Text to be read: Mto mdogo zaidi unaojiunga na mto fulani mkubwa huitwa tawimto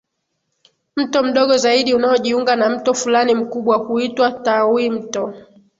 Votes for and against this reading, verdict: 1, 2, rejected